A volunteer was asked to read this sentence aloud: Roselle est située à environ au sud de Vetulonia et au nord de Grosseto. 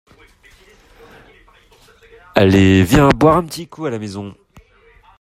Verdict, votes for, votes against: rejected, 0, 2